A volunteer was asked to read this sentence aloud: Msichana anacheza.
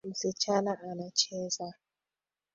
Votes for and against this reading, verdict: 2, 0, accepted